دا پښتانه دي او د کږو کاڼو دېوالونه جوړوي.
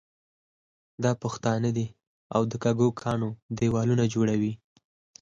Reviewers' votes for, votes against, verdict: 0, 4, rejected